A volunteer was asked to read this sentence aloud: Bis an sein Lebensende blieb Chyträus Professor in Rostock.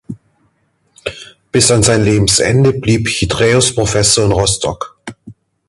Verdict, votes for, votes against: accepted, 2, 0